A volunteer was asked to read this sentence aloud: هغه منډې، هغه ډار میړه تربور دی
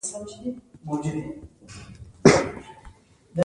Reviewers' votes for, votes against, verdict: 1, 2, rejected